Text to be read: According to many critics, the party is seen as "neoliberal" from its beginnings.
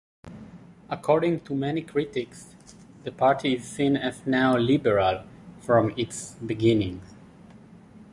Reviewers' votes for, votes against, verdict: 1, 2, rejected